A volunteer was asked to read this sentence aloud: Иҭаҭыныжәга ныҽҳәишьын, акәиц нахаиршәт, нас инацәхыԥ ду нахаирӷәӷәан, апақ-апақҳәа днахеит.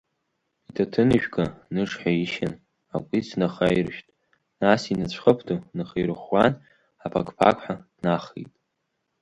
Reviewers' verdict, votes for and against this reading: accepted, 3, 0